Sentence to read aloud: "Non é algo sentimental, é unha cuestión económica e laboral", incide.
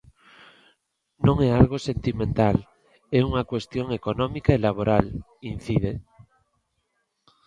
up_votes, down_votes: 3, 0